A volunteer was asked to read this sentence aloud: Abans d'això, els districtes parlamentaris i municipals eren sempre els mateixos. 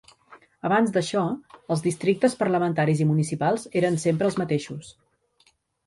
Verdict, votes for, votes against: accepted, 4, 0